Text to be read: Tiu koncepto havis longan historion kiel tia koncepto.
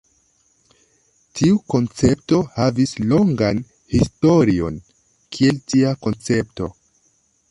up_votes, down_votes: 0, 2